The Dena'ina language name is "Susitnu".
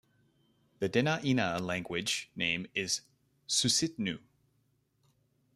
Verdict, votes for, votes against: accepted, 2, 0